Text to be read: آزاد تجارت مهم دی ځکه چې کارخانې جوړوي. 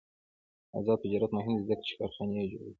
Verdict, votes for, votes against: accepted, 2, 0